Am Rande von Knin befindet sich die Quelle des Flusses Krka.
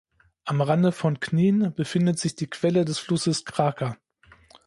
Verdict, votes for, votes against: rejected, 0, 2